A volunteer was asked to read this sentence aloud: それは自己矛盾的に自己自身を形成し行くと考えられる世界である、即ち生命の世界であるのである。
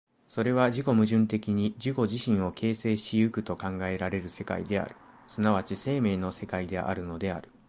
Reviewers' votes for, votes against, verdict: 2, 0, accepted